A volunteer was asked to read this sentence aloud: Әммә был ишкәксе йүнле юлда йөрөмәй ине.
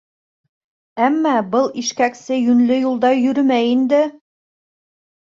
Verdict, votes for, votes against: rejected, 0, 2